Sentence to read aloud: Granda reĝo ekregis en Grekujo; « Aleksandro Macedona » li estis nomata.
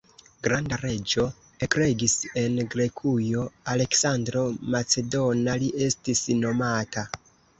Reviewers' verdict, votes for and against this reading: rejected, 0, 2